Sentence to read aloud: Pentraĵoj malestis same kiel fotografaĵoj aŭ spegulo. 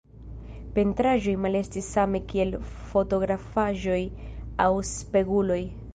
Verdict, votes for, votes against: rejected, 0, 2